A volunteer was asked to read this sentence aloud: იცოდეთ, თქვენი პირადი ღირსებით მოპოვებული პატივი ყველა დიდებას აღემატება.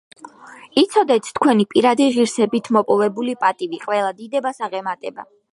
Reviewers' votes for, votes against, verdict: 2, 0, accepted